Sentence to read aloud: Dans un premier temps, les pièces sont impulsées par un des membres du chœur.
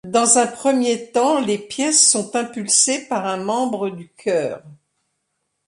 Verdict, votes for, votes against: rejected, 0, 2